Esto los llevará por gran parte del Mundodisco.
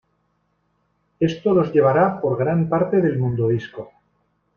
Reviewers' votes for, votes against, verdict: 2, 0, accepted